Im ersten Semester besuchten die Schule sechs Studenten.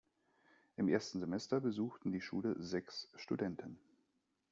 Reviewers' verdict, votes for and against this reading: rejected, 1, 2